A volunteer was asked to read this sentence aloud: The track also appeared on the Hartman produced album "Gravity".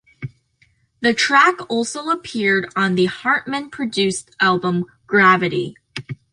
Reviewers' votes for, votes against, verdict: 2, 0, accepted